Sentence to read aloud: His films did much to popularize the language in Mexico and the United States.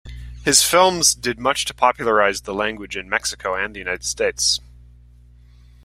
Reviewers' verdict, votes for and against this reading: accepted, 2, 0